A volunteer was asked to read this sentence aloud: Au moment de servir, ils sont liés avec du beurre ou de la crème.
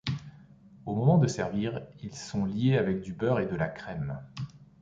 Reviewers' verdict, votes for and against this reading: rejected, 0, 2